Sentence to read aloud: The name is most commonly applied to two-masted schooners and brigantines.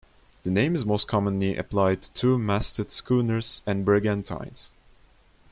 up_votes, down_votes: 2, 0